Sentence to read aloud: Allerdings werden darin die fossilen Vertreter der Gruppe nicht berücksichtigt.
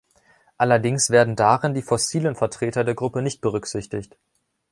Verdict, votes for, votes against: accepted, 2, 0